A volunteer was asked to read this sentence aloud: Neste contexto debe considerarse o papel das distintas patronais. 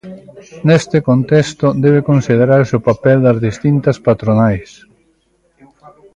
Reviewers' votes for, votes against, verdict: 2, 1, accepted